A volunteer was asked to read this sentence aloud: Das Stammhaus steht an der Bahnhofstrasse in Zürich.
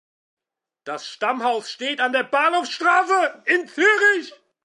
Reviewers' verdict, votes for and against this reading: rejected, 1, 2